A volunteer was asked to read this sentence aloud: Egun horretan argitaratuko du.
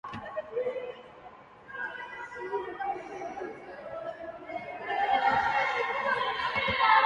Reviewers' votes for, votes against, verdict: 0, 4, rejected